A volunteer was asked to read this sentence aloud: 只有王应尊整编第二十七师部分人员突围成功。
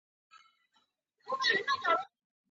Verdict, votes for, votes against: rejected, 2, 3